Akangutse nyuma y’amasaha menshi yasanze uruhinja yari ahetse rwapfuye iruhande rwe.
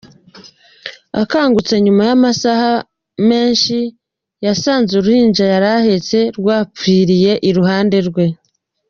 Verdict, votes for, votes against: accepted, 2, 1